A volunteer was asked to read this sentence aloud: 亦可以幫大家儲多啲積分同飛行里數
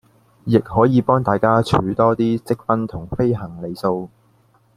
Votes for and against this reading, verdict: 2, 0, accepted